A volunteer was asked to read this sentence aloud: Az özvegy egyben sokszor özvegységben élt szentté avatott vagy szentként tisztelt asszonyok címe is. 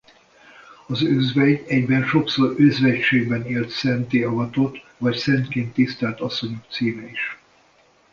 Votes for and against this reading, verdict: 2, 0, accepted